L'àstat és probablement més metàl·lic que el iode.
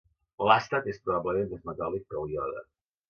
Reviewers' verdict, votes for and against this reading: accepted, 2, 1